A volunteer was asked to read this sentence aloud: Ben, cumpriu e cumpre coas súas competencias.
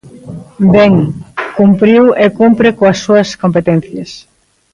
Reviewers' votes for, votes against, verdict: 2, 0, accepted